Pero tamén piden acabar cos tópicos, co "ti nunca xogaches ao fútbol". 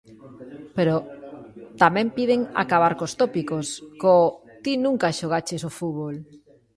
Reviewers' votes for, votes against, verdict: 1, 2, rejected